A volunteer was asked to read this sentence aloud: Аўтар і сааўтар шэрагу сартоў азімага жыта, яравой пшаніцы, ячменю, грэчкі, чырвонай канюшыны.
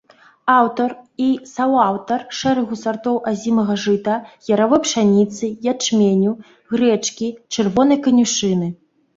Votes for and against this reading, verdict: 0, 2, rejected